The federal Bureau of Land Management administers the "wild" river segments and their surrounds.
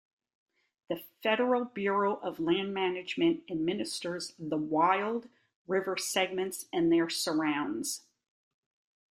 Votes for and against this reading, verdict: 2, 0, accepted